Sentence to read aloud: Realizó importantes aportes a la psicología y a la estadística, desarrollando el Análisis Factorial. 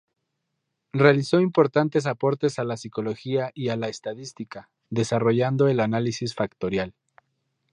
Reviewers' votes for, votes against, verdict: 0, 2, rejected